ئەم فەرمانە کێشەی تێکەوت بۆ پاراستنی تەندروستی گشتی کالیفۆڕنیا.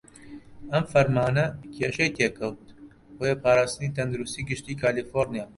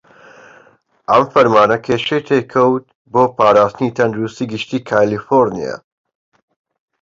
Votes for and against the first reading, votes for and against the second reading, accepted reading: 2, 3, 2, 1, second